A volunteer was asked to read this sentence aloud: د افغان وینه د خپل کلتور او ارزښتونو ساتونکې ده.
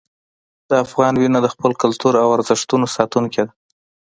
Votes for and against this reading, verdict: 2, 0, accepted